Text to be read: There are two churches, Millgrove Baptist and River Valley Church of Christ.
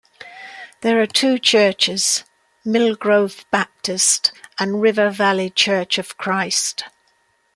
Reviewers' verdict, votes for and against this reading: accepted, 2, 0